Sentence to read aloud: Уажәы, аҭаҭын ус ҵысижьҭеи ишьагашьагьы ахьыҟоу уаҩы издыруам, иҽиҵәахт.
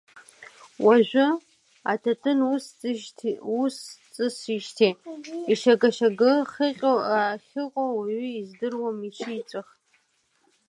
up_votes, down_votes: 1, 2